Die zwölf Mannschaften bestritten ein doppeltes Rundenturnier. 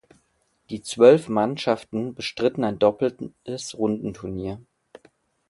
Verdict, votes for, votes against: accepted, 2, 0